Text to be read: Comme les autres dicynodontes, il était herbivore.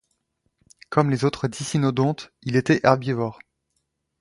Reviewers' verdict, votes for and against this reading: accepted, 2, 0